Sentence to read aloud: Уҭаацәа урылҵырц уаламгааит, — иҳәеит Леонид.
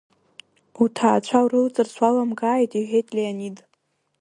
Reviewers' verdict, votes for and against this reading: rejected, 1, 2